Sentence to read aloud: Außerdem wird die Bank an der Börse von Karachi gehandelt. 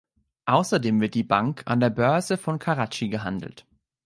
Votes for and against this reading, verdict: 2, 0, accepted